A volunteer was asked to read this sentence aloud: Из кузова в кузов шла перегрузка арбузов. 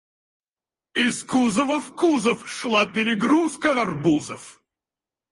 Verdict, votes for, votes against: rejected, 0, 4